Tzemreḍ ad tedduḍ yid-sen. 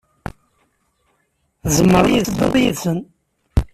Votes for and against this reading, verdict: 1, 2, rejected